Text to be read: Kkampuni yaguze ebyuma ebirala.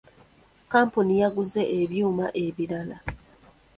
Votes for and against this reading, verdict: 2, 0, accepted